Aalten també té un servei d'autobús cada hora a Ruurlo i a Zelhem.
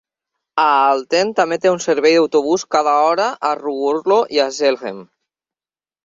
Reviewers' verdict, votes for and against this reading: accepted, 2, 1